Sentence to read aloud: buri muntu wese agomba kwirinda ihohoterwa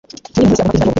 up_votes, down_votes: 0, 2